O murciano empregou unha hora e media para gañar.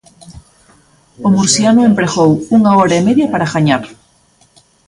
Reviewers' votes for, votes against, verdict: 2, 1, accepted